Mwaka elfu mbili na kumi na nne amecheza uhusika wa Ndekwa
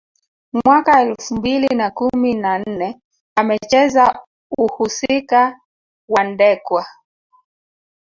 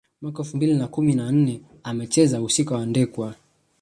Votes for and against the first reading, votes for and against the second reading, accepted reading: 4, 1, 0, 2, first